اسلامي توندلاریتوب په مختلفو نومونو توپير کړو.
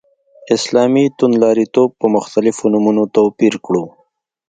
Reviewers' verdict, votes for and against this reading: accepted, 2, 0